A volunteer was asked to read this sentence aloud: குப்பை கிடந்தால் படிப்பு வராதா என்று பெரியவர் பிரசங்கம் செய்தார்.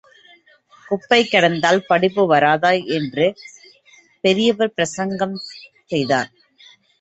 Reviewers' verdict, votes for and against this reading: accepted, 2, 0